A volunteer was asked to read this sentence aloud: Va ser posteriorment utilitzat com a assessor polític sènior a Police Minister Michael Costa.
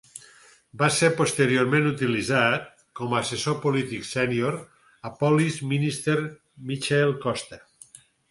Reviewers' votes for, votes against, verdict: 4, 0, accepted